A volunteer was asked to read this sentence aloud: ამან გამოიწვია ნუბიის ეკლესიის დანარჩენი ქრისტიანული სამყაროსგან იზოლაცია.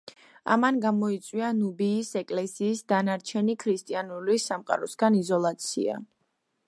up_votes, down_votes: 2, 1